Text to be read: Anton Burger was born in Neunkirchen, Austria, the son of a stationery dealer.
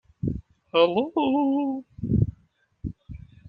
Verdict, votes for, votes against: rejected, 0, 2